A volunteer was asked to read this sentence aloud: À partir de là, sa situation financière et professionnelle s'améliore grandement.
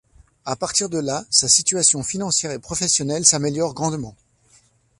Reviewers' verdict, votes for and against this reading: accepted, 2, 0